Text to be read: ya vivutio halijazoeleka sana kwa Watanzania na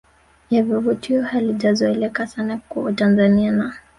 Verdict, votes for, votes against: rejected, 1, 2